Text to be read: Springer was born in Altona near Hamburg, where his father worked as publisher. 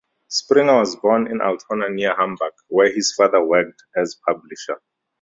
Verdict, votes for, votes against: rejected, 0, 2